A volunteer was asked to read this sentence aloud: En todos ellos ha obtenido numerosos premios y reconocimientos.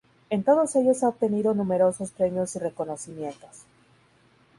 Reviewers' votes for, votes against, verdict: 2, 2, rejected